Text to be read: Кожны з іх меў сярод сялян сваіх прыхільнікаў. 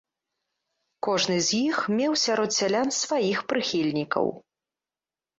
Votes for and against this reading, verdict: 2, 0, accepted